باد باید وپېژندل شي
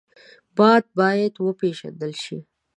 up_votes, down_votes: 2, 0